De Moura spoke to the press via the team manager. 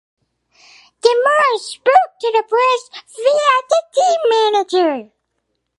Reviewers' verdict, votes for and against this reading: accepted, 6, 0